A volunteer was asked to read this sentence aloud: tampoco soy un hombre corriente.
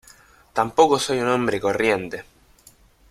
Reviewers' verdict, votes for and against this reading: accepted, 2, 0